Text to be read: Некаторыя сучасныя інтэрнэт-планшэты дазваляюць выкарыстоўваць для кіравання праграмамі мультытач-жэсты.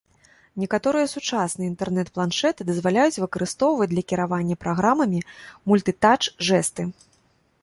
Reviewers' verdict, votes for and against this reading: accepted, 2, 0